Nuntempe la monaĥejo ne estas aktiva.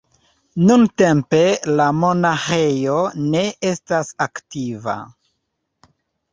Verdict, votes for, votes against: accepted, 2, 0